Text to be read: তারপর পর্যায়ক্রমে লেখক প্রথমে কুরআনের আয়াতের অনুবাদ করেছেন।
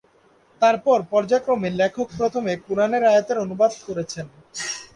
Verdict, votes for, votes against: accepted, 4, 0